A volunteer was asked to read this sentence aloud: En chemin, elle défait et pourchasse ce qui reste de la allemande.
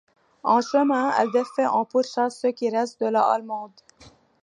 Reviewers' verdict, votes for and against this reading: rejected, 0, 2